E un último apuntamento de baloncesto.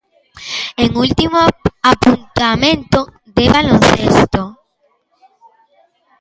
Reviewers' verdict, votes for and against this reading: rejected, 0, 2